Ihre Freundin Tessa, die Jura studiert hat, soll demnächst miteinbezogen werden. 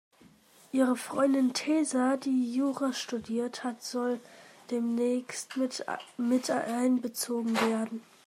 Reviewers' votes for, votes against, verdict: 0, 2, rejected